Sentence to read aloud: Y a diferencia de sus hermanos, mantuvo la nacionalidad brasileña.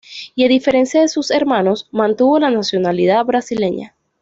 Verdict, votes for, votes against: accepted, 2, 0